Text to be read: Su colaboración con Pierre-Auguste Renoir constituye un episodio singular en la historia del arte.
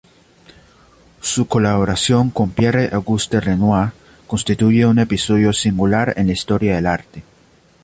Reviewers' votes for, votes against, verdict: 2, 0, accepted